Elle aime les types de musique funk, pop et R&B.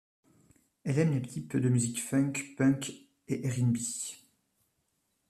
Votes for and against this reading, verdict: 0, 2, rejected